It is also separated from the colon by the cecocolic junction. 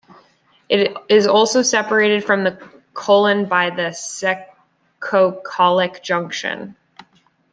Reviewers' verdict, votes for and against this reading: rejected, 0, 2